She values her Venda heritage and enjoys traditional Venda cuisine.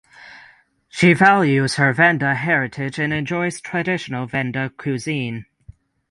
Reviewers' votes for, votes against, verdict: 6, 0, accepted